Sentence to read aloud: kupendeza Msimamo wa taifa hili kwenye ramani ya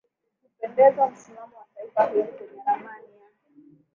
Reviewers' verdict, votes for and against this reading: accepted, 2, 1